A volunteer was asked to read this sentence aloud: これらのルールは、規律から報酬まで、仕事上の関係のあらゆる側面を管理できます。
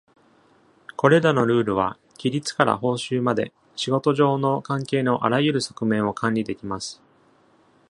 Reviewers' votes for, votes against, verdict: 2, 0, accepted